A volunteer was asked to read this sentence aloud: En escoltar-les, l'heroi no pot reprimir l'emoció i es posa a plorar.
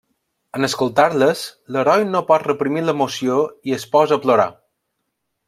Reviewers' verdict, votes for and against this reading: accepted, 5, 0